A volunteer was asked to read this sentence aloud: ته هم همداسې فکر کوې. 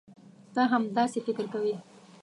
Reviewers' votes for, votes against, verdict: 1, 2, rejected